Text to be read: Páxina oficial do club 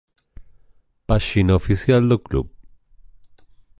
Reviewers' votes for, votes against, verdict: 2, 0, accepted